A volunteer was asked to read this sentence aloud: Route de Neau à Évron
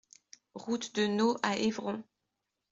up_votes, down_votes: 2, 0